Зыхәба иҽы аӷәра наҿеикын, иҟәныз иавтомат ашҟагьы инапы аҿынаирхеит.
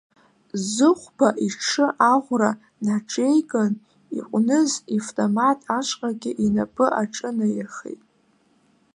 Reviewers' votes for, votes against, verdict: 2, 0, accepted